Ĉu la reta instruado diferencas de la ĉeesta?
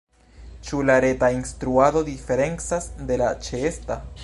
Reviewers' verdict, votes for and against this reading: accepted, 2, 1